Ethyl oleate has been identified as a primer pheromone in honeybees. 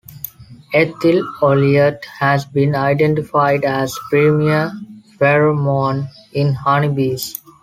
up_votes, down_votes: 1, 2